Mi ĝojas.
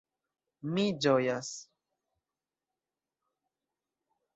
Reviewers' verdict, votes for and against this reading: accepted, 2, 0